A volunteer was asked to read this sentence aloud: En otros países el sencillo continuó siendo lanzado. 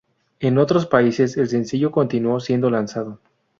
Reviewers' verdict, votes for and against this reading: accepted, 2, 0